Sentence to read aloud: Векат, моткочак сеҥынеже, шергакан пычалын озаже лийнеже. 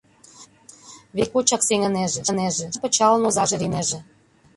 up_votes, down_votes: 0, 2